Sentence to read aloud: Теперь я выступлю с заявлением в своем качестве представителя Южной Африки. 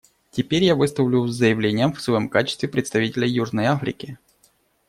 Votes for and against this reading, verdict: 0, 2, rejected